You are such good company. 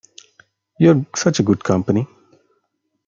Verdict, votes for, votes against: rejected, 1, 2